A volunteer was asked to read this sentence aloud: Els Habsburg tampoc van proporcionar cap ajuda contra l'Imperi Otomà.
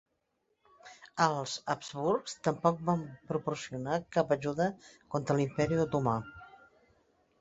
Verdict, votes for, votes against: rejected, 0, 2